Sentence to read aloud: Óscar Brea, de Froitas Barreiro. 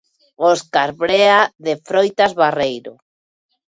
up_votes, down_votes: 2, 0